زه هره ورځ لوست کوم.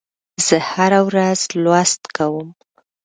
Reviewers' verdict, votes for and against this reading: accepted, 2, 0